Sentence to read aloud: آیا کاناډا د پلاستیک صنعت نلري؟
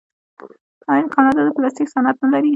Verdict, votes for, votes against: rejected, 0, 2